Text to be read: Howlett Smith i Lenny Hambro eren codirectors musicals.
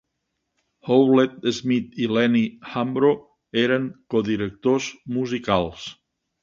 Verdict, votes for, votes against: accepted, 19, 2